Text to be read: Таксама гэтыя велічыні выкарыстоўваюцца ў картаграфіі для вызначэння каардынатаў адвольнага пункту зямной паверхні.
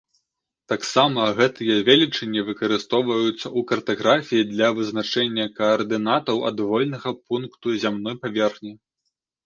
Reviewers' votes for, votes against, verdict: 0, 2, rejected